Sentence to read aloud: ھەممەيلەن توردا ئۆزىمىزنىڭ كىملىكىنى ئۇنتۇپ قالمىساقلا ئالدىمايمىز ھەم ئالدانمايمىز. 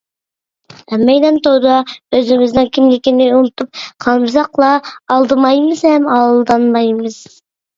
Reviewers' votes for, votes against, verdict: 2, 0, accepted